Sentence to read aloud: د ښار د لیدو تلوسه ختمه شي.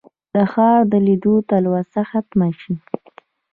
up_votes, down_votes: 2, 0